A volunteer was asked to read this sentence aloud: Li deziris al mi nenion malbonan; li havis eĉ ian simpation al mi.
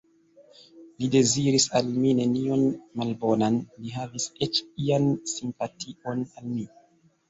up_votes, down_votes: 1, 2